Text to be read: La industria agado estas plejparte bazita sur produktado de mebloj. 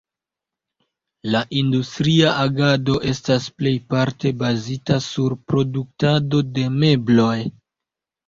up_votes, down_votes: 2, 0